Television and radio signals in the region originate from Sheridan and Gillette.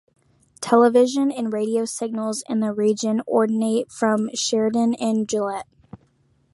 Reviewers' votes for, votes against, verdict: 2, 1, accepted